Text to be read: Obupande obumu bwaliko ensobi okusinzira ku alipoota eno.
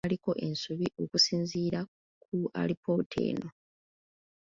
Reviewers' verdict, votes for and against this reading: rejected, 0, 2